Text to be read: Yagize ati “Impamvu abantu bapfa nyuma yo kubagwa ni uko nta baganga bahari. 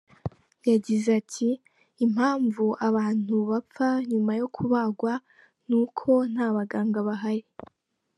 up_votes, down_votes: 2, 0